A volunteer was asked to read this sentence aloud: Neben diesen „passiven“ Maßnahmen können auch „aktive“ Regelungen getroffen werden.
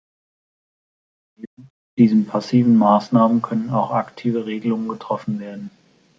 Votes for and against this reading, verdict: 0, 2, rejected